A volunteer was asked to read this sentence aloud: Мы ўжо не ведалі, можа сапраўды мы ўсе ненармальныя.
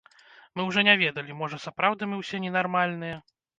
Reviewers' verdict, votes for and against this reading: rejected, 1, 2